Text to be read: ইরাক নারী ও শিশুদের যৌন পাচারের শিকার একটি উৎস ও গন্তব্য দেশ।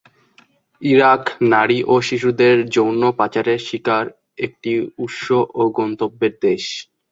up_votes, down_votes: 0, 2